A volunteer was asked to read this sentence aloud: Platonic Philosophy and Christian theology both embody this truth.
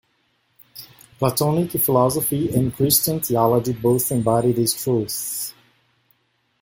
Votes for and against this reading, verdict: 2, 0, accepted